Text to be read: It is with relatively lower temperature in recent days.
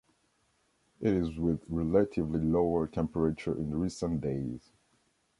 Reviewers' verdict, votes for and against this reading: accepted, 2, 1